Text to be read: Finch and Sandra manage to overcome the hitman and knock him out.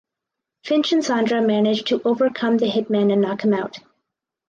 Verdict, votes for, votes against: accepted, 4, 0